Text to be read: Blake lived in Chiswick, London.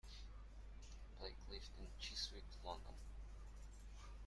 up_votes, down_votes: 1, 2